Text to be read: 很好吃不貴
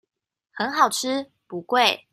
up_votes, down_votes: 2, 0